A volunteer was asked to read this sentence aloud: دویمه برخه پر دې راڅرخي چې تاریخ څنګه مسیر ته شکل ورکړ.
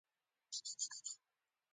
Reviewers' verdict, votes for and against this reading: accepted, 2, 1